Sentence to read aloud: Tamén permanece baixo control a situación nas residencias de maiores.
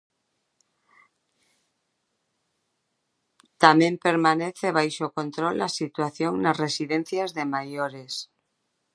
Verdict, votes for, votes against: accepted, 2, 0